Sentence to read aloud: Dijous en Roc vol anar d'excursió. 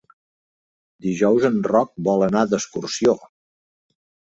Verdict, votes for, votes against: accepted, 3, 0